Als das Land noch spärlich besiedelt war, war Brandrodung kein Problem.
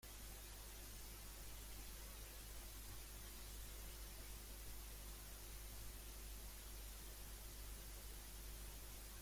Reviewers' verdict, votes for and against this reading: rejected, 0, 2